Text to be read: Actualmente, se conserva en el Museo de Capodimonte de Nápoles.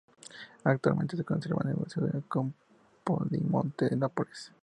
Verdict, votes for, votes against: rejected, 0, 2